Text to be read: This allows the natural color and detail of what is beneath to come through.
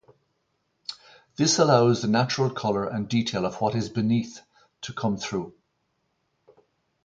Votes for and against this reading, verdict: 4, 0, accepted